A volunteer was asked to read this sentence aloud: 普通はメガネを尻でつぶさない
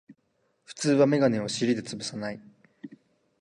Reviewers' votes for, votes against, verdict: 2, 0, accepted